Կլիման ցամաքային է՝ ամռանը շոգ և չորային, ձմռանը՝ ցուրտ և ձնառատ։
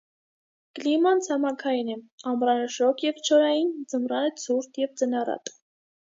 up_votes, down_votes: 2, 0